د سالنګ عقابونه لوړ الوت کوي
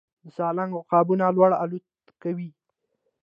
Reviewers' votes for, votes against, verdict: 1, 2, rejected